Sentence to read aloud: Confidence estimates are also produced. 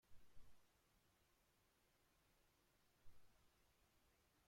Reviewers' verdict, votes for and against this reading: rejected, 0, 2